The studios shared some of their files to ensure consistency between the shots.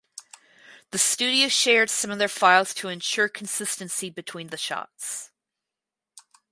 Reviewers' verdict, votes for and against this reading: accepted, 4, 0